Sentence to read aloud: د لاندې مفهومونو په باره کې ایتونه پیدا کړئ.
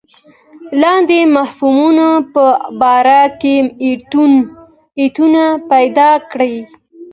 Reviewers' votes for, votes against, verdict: 1, 2, rejected